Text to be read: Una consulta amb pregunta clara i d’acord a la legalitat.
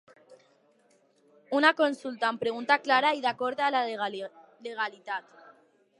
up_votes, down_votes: 0, 2